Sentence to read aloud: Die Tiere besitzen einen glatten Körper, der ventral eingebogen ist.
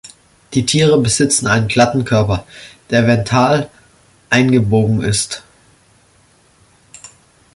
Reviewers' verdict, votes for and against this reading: rejected, 0, 2